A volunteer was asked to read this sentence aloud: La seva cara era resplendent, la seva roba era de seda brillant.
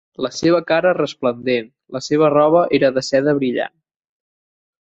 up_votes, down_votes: 0, 2